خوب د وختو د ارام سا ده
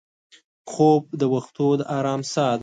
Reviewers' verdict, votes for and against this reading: accepted, 2, 0